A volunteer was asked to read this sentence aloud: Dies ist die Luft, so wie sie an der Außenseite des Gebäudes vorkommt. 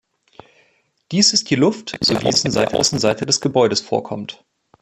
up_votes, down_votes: 0, 2